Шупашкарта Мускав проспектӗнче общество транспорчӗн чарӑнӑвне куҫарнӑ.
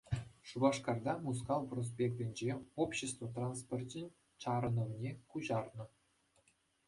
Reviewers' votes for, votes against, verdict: 2, 0, accepted